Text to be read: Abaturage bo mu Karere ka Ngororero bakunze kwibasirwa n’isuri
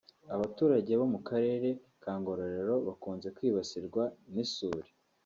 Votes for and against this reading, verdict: 2, 0, accepted